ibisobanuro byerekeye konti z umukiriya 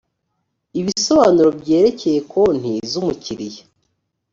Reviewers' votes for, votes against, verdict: 2, 0, accepted